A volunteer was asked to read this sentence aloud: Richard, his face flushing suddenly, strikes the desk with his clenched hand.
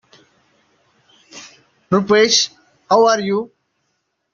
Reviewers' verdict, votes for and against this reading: rejected, 0, 2